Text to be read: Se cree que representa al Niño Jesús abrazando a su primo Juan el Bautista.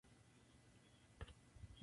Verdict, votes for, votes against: rejected, 0, 2